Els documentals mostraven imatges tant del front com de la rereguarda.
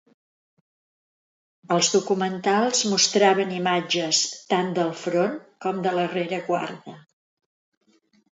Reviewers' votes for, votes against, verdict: 2, 0, accepted